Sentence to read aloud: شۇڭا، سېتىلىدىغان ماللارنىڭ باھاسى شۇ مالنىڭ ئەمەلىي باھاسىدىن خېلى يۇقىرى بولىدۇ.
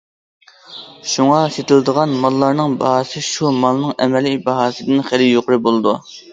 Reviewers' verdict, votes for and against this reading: accepted, 2, 0